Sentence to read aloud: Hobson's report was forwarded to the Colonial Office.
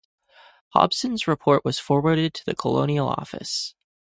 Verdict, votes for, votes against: accepted, 4, 0